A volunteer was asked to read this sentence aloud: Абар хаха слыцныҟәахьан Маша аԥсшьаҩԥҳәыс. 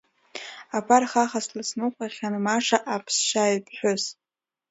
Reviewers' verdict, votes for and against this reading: rejected, 1, 2